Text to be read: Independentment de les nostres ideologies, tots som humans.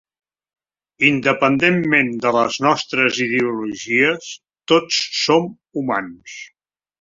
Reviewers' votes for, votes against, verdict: 3, 0, accepted